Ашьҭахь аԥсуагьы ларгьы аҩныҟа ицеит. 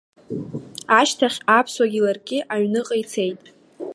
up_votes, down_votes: 2, 1